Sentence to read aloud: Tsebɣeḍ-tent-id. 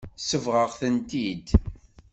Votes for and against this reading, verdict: 2, 0, accepted